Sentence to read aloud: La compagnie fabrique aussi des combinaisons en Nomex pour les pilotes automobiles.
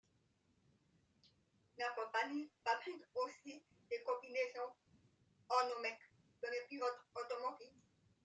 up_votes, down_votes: 2, 0